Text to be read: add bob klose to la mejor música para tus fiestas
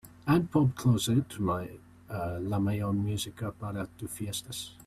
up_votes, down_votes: 3, 2